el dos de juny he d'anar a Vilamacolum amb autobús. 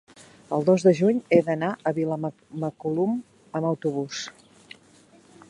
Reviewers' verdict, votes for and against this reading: rejected, 0, 2